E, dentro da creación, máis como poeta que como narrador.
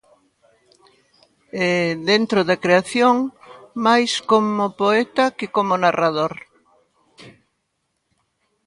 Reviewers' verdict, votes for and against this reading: accepted, 2, 0